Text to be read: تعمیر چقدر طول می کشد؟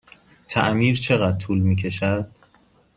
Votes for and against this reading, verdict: 2, 0, accepted